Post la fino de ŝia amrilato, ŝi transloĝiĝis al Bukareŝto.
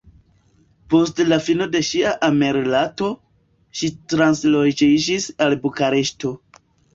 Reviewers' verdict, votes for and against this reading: rejected, 0, 2